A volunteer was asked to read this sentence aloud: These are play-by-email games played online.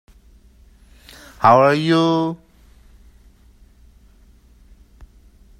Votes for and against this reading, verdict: 0, 2, rejected